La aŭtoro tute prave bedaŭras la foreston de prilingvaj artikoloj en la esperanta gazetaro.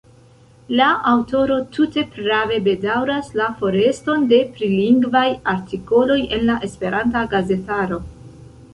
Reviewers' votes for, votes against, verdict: 2, 0, accepted